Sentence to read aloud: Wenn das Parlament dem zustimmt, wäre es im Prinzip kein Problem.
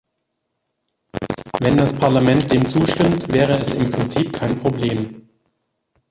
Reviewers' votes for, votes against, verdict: 2, 1, accepted